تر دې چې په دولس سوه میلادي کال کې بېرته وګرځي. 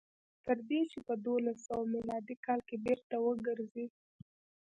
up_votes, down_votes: 1, 2